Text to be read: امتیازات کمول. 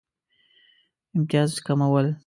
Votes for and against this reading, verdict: 0, 2, rejected